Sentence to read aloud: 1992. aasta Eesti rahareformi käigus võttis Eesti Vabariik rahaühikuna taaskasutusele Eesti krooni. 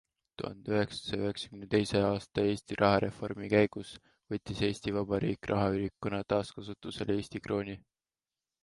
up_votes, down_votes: 0, 2